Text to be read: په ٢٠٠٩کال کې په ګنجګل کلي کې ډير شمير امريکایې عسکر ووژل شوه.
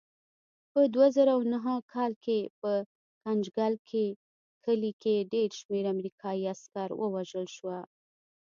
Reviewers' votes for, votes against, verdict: 0, 2, rejected